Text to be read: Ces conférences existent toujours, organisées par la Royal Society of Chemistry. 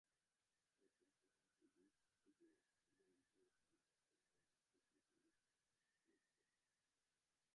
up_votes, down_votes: 0, 2